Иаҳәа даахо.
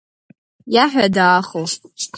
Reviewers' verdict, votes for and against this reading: rejected, 0, 2